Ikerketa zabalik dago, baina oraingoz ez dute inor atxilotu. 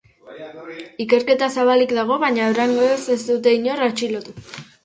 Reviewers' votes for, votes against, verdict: 0, 2, rejected